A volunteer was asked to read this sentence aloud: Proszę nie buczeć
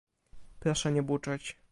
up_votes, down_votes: 1, 2